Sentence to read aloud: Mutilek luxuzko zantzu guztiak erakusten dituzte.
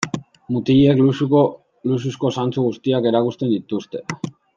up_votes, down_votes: 0, 2